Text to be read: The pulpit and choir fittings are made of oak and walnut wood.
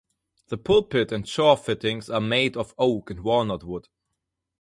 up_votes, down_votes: 2, 4